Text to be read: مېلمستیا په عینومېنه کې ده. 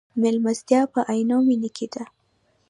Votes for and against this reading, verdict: 1, 2, rejected